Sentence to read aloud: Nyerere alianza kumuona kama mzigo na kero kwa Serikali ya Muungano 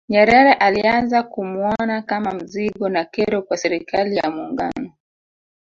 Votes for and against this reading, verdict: 2, 3, rejected